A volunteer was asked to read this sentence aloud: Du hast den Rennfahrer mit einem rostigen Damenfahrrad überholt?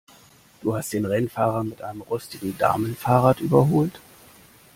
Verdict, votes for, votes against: accepted, 2, 1